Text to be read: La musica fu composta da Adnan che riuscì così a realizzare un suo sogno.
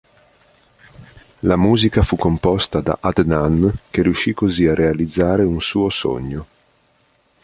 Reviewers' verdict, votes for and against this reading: accepted, 2, 0